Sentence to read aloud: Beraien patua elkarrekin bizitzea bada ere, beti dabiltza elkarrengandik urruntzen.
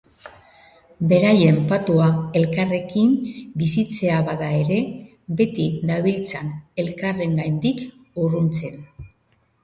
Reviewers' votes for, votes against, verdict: 2, 0, accepted